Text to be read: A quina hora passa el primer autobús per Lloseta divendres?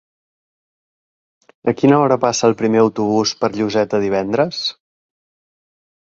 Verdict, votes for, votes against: accepted, 2, 0